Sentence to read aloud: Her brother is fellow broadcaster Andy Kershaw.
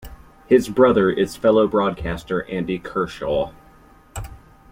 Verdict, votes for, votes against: rejected, 1, 2